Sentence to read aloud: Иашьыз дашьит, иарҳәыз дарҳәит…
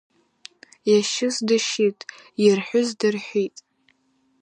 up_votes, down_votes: 4, 0